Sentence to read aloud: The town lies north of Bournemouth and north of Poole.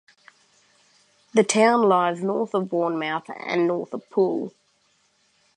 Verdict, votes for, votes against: accepted, 2, 0